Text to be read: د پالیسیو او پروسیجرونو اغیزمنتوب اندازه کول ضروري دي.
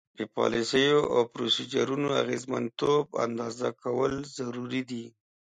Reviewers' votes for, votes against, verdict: 2, 0, accepted